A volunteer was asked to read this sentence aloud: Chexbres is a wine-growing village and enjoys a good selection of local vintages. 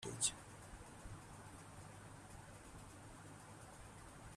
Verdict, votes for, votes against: rejected, 0, 3